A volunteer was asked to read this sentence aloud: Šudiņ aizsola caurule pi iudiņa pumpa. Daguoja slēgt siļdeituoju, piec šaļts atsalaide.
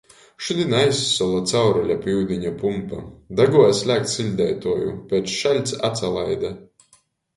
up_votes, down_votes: 2, 0